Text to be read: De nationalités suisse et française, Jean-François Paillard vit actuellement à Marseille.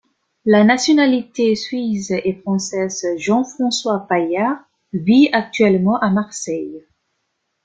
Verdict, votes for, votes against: rejected, 0, 2